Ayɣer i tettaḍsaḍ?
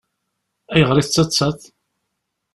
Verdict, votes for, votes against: rejected, 1, 2